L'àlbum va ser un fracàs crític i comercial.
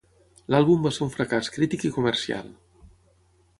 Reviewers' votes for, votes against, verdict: 3, 0, accepted